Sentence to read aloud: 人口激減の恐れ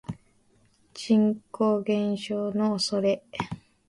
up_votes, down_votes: 1, 2